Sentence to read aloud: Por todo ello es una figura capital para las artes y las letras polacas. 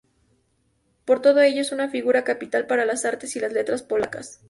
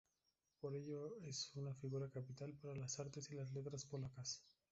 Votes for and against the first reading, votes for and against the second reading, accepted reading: 2, 0, 0, 2, first